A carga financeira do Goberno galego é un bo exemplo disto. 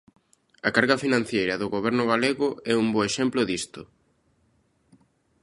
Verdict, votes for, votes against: rejected, 0, 2